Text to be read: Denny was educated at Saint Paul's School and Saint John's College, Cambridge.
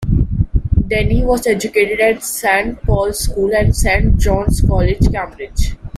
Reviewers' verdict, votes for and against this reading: rejected, 0, 2